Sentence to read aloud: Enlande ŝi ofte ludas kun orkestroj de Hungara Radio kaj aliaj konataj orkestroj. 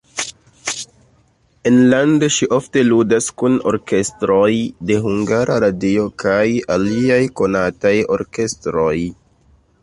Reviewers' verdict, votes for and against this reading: rejected, 0, 2